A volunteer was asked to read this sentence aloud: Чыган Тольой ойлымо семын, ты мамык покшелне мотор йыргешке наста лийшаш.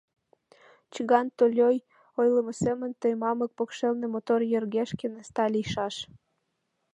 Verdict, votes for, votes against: rejected, 1, 2